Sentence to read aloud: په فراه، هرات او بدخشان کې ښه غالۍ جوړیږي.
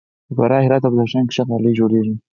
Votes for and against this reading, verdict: 4, 2, accepted